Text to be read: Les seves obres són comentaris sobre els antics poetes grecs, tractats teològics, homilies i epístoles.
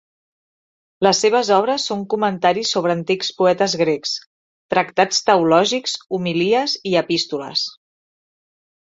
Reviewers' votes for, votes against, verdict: 1, 2, rejected